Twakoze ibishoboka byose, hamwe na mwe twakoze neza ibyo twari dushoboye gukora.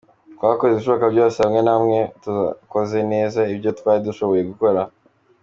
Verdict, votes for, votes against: accepted, 2, 0